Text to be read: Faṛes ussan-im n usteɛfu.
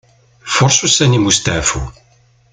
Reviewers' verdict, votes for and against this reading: accepted, 2, 1